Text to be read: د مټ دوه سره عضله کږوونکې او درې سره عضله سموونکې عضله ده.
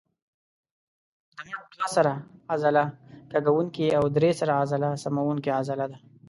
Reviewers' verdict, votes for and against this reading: rejected, 0, 2